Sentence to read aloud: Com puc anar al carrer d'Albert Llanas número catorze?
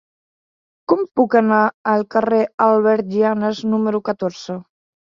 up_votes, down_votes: 1, 2